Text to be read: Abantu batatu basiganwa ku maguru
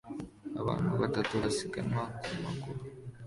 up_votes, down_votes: 2, 0